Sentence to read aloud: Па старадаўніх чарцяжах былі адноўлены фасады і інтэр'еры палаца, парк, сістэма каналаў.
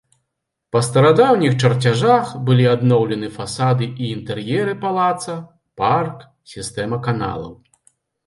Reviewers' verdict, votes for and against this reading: accepted, 2, 0